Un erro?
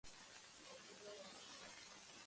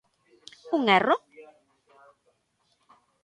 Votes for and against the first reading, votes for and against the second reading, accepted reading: 0, 2, 2, 0, second